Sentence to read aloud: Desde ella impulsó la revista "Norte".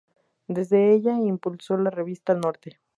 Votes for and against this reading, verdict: 2, 0, accepted